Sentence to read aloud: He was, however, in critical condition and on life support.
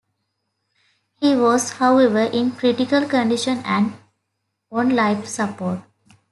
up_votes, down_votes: 2, 0